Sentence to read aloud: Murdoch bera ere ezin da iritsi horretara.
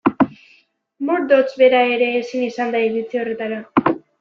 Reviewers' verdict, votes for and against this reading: rejected, 0, 2